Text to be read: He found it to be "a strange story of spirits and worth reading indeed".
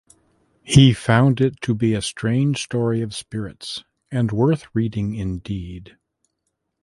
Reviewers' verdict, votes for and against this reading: accepted, 3, 0